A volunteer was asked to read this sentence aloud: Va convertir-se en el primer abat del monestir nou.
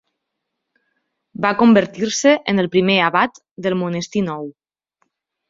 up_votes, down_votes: 3, 0